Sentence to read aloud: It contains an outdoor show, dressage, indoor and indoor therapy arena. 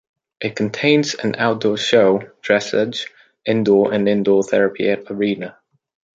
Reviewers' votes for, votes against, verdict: 1, 2, rejected